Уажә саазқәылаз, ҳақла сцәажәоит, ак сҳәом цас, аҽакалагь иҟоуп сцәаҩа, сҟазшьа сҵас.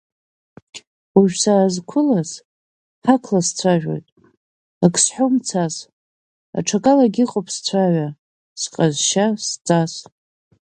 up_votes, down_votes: 4, 1